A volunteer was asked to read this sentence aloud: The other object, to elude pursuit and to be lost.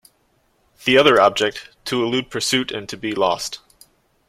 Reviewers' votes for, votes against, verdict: 2, 0, accepted